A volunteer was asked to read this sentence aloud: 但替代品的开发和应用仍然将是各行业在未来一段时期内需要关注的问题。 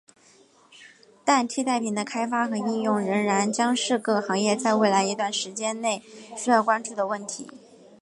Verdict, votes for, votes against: accepted, 2, 0